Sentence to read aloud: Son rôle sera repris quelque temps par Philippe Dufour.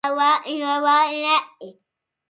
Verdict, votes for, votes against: rejected, 0, 2